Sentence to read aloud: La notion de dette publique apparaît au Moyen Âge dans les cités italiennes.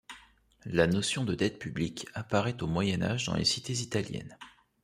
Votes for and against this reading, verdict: 2, 0, accepted